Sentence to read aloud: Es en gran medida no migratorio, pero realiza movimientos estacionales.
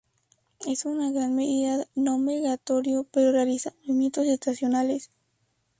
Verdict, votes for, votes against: rejected, 2, 2